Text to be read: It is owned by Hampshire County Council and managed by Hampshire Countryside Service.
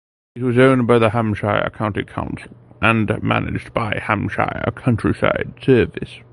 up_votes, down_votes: 0, 2